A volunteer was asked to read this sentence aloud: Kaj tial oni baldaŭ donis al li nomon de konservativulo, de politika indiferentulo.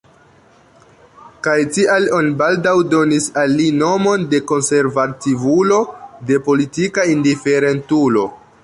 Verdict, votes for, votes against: rejected, 1, 2